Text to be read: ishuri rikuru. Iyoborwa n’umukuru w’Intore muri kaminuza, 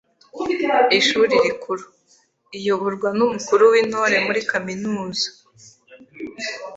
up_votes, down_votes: 3, 0